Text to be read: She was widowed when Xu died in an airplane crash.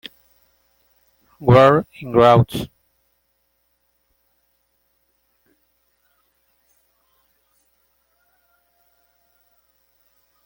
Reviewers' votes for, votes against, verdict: 0, 2, rejected